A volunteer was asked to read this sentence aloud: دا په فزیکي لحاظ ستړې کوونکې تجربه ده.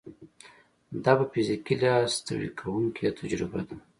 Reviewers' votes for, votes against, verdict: 2, 0, accepted